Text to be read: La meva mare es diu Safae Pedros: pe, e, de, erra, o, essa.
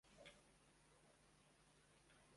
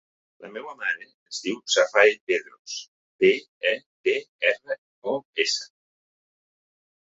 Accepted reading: second